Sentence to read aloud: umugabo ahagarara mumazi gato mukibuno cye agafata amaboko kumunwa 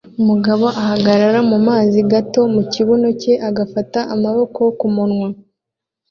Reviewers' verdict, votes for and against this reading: accepted, 2, 0